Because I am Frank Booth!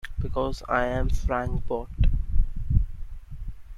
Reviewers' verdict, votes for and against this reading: accepted, 2, 1